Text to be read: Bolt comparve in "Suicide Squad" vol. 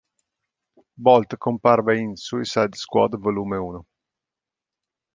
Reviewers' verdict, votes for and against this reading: rejected, 1, 2